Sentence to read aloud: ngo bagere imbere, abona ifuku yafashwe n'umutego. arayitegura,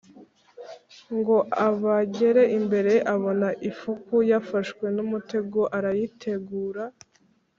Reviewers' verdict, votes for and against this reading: rejected, 1, 2